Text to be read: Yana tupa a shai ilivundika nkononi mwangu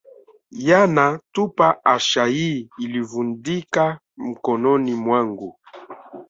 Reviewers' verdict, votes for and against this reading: rejected, 1, 2